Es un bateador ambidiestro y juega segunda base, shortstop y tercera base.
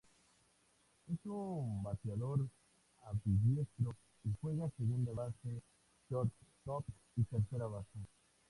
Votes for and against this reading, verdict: 2, 0, accepted